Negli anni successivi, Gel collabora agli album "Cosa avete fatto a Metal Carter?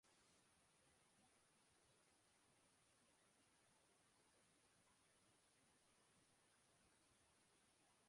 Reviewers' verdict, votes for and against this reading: rejected, 0, 2